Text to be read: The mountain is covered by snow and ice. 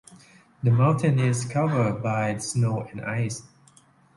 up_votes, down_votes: 2, 0